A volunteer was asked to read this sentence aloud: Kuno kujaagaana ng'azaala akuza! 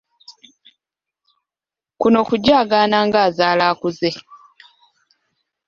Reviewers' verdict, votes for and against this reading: rejected, 1, 2